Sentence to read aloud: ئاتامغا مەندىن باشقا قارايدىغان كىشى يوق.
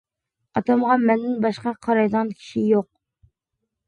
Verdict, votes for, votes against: accepted, 2, 0